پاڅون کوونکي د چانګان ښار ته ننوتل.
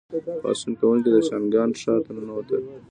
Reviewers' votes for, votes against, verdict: 1, 2, rejected